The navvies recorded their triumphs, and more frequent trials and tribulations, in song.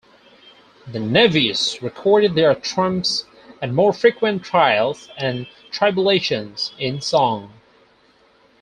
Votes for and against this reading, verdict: 0, 4, rejected